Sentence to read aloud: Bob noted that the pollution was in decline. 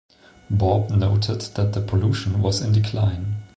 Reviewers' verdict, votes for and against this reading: accepted, 2, 0